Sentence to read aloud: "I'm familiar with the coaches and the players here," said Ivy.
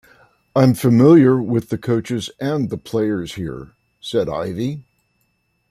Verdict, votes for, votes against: rejected, 0, 2